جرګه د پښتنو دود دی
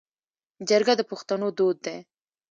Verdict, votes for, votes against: accepted, 2, 0